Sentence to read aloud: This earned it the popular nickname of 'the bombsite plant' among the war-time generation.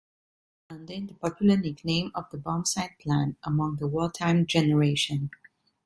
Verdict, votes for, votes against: rejected, 1, 2